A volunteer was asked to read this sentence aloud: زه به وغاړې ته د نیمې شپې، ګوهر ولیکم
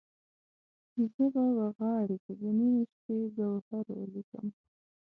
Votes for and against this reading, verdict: 0, 2, rejected